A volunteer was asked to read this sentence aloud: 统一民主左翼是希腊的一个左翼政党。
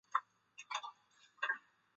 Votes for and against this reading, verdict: 1, 5, rejected